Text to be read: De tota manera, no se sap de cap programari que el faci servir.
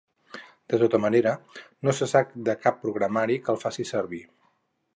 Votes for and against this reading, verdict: 6, 0, accepted